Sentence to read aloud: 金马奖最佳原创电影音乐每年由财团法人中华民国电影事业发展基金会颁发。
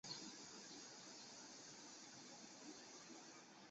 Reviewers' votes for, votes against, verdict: 0, 3, rejected